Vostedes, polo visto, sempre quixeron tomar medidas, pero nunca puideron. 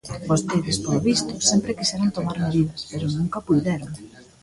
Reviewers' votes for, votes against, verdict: 1, 2, rejected